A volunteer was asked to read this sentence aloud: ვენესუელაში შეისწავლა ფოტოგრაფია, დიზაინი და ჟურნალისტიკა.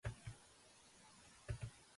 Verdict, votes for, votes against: rejected, 0, 3